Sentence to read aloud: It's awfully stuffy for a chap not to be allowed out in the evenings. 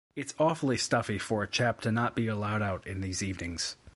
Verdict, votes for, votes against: rejected, 0, 2